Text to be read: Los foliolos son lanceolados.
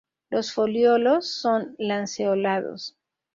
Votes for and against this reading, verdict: 0, 2, rejected